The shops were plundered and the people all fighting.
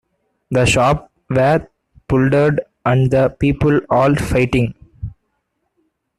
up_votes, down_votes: 0, 2